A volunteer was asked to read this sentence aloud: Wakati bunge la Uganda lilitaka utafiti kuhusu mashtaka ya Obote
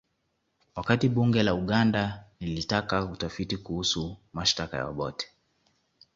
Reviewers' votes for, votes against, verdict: 2, 0, accepted